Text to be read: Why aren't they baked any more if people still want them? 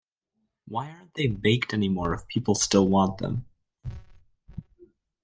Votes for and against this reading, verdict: 1, 2, rejected